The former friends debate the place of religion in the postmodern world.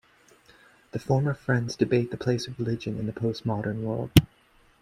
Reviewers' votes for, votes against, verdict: 2, 1, accepted